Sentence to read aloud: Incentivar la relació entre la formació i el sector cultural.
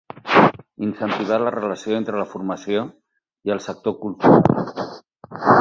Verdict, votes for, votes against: rejected, 2, 4